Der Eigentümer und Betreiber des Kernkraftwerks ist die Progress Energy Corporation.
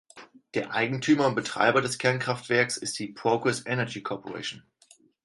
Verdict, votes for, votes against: accepted, 4, 0